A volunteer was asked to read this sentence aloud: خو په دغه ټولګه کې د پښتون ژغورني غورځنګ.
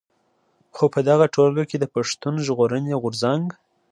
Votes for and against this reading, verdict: 2, 0, accepted